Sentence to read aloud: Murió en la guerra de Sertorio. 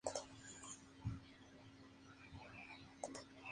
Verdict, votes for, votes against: accepted, 2, 0